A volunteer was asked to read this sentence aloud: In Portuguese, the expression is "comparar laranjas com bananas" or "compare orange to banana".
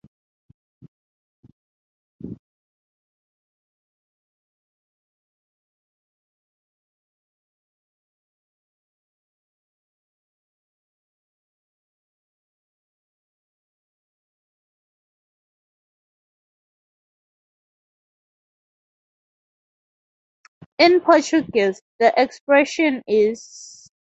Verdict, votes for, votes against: rejected, 0, 2